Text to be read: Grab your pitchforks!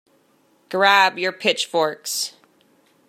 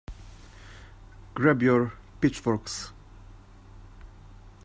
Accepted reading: first